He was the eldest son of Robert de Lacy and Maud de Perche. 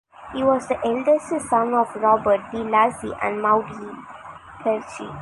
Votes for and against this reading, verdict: 2, 3, rejected